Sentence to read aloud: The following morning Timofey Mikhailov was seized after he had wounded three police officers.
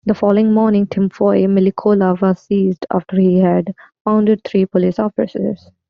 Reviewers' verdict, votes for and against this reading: rejected, 0, 2